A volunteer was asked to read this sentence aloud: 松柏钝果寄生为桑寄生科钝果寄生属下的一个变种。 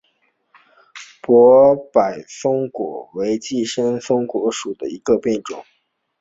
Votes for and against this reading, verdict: 0, 2, rejected